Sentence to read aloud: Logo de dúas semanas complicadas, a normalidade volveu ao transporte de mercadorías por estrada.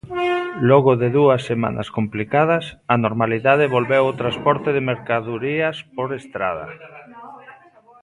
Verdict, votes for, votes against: rejected, 0, 2